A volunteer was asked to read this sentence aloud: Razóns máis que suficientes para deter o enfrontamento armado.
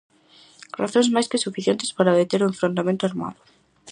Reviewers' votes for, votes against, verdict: 4, 0, accepted